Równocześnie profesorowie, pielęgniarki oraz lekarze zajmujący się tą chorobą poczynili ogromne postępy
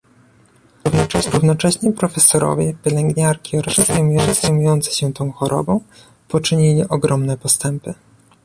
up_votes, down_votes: 1, 2